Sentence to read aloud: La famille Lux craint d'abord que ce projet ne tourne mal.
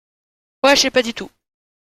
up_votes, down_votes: 0, 2